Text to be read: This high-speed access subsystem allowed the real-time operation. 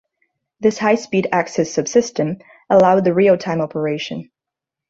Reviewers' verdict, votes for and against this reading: accepted, 2, 0